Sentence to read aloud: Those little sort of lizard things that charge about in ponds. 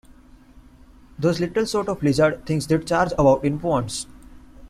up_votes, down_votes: 1, 2